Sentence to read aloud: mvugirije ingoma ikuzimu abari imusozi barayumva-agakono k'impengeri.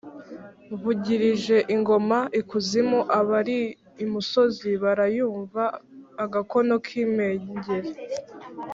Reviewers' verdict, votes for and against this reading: accepted, 3, 0